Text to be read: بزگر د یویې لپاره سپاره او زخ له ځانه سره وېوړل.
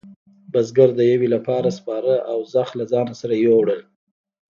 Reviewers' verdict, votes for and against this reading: accepted, 2, 0